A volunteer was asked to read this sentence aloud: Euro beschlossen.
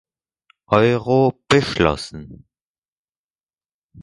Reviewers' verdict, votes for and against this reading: accepted, 4, 0